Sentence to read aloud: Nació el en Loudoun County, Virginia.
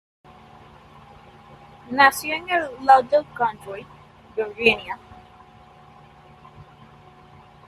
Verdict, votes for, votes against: rejected, 1, 2